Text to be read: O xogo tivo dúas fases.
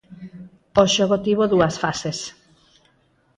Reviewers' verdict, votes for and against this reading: accepted, 4, 0